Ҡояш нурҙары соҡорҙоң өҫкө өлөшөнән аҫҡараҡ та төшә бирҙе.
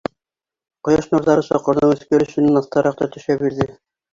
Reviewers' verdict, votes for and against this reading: rejected, 2, 3